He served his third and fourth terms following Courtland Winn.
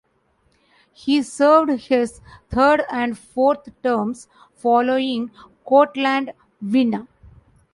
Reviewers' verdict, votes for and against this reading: accepted, 2, 0